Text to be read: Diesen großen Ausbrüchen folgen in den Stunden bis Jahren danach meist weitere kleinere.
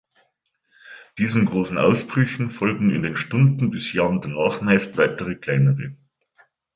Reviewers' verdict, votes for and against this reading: rejected, 1, 2